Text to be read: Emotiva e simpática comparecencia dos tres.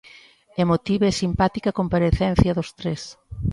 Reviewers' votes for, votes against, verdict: 2, 0, accepted